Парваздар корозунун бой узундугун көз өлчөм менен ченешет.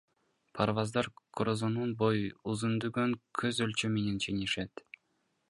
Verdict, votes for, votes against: rejected, 1, 2